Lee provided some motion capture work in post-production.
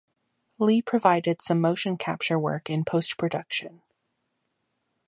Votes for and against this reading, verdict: 2, 0, accepted